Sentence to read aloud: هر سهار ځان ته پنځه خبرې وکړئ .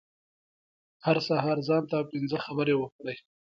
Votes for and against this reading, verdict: 2, 0, accepted